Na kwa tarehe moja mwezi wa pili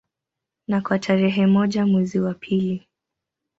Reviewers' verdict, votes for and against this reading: accepted, 2, 0